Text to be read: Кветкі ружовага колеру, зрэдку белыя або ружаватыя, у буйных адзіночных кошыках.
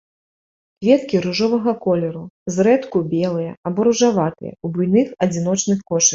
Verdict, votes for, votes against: accepted, 2, 1